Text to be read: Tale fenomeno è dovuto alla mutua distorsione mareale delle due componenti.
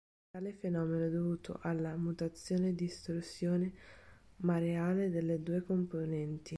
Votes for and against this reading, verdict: 0, 2, rejected